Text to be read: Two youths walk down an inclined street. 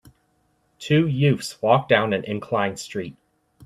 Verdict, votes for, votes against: accepted, 2, 0